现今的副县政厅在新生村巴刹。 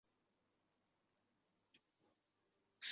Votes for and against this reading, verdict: 0, 2, rejected